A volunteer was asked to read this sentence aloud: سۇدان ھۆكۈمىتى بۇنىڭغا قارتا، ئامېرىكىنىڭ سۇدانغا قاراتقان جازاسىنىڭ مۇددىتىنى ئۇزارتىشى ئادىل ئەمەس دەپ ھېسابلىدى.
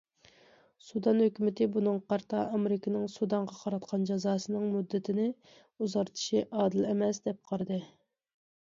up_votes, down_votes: 0, 2